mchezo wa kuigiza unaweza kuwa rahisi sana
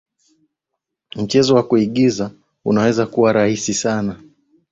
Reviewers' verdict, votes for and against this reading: accepted, 2, 0